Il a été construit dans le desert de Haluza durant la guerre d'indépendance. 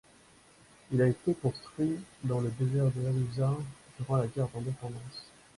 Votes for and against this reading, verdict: 2, 0, accepted